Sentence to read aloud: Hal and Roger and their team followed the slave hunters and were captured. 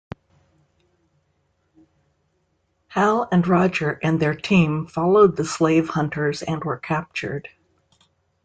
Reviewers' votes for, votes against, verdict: 2, 0, accepted